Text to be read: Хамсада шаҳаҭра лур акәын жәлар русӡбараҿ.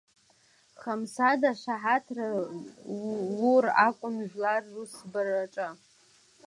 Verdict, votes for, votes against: rejected, 0, 2